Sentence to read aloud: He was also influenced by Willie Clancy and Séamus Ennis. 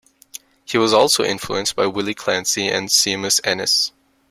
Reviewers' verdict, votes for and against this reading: rejected, 0, 2